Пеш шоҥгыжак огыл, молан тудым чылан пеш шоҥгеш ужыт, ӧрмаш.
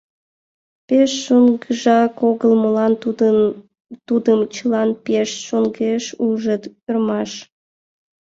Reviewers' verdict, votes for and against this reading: rejected, 0, 2